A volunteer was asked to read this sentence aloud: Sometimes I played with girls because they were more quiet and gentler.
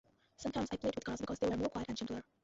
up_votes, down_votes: 0, 2